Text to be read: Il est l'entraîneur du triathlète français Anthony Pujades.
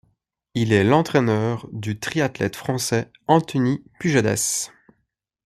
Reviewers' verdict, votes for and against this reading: accepted, 2, 0